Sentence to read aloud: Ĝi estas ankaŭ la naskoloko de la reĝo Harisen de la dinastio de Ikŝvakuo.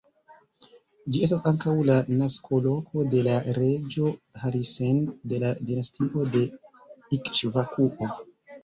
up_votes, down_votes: 0, 2